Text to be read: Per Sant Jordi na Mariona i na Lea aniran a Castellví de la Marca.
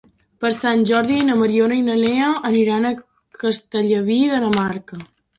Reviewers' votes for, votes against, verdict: 0, 2, rejected